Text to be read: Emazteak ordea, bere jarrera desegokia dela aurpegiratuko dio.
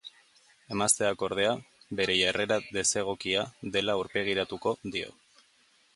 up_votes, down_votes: 2, 0